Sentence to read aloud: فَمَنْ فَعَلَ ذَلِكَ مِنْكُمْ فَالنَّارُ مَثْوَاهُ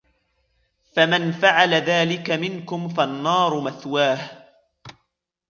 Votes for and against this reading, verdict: 2, 1, accepted